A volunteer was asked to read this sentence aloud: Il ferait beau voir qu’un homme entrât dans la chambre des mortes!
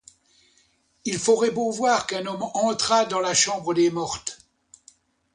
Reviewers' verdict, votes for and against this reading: rejected, 1, 2